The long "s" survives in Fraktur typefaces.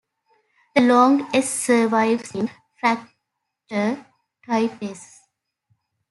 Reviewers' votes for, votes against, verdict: 0, 2, rejected